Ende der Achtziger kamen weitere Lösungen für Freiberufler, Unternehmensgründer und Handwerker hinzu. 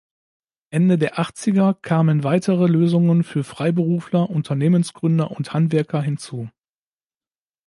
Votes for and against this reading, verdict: 2, 0, accepted